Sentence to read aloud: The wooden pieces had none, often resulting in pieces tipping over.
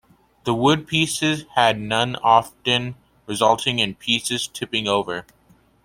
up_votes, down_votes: 0, 2